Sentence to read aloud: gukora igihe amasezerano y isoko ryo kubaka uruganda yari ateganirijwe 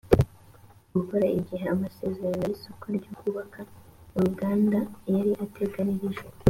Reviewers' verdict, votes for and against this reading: accepted, 3, 0